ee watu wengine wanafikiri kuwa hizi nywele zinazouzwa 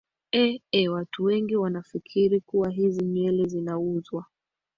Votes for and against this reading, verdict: 1, 2, rejected